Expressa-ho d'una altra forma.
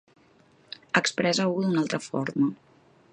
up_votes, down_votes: 1, 2